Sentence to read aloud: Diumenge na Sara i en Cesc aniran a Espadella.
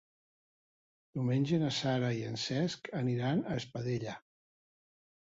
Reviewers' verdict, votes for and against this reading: accepted, 3, 0